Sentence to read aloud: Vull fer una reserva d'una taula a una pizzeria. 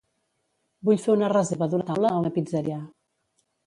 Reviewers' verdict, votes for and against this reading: rejected, 1, 2